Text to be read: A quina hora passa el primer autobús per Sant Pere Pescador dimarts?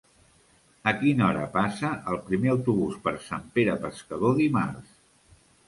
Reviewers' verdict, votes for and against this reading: accepted, 3, 0